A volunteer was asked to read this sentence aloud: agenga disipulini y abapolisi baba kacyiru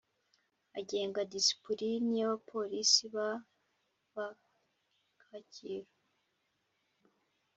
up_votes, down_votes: 2, 1